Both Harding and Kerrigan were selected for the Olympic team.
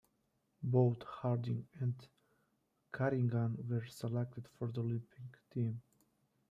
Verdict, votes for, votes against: rejected, 1, 2